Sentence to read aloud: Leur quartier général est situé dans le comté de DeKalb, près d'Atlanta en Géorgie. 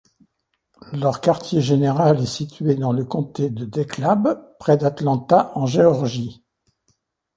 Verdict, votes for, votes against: rejected, 0, 2